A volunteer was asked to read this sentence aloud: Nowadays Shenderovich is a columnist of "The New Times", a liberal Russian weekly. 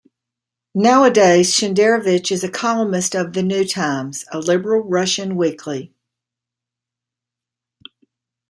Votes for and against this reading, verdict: 2, 0, accepted